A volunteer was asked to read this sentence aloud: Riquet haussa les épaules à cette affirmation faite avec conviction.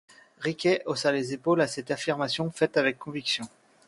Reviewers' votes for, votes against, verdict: 2, 0, accepted